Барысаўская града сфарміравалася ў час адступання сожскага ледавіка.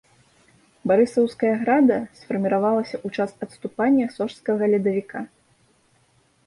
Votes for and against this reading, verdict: 1, 2, rejected